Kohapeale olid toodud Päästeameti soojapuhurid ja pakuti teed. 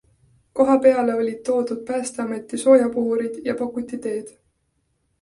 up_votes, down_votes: 2, 0